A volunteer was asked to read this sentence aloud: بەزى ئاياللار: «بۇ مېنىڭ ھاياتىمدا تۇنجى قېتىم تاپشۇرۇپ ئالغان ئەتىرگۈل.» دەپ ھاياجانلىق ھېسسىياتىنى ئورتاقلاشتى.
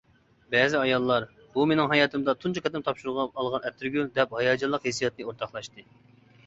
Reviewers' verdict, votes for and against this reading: rejected, 0, 2